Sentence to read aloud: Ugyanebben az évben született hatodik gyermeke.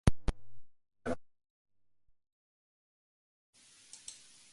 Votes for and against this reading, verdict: 0, 2, rejected